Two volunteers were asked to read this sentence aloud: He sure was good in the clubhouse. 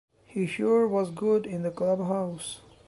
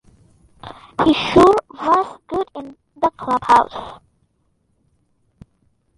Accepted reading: first